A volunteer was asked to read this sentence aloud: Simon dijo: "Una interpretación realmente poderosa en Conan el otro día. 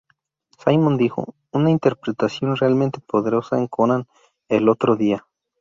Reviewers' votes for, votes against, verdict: 2, 0, accepted